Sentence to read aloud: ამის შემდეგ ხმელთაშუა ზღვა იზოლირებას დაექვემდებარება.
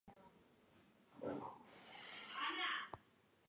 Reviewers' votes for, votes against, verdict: 0, 2, rejected